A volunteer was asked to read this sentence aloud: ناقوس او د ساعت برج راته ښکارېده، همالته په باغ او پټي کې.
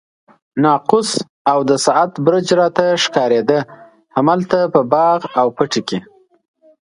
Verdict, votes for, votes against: accepted, 2, 0